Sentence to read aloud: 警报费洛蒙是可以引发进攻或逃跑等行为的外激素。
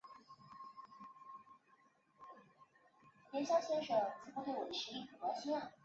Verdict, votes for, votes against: rejected, 0, 2